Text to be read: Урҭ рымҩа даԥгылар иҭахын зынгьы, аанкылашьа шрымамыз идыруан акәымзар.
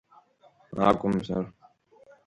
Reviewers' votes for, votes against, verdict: 0, 2, rejected